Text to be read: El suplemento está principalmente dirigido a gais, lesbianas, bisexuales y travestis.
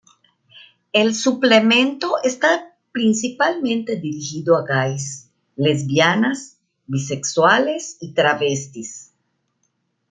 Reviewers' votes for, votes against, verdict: 1, 2, rejected